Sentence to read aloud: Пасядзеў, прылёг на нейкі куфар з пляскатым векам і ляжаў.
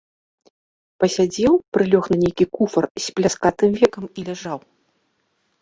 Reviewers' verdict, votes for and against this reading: accepted, 2, 0